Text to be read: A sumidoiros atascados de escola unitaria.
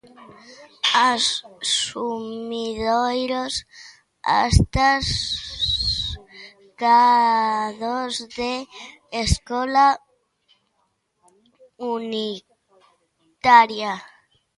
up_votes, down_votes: 0, 2